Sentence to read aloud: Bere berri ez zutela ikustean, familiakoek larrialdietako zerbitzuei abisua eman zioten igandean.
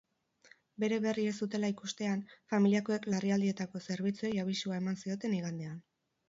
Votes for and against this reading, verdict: 4, 0, accepted